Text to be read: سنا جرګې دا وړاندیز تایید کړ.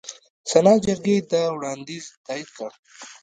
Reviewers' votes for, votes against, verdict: 2, 0, accepted